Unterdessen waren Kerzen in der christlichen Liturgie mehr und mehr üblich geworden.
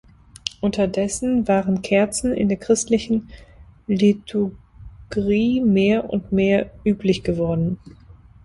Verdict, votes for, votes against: rejected, 0, 2